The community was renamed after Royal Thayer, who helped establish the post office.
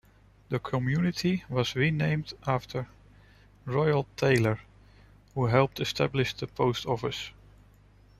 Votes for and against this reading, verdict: 0, 2, rejected